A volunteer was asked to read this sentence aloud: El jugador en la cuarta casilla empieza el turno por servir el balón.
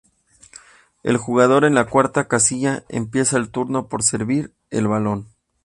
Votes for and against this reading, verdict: 2, 0, accepted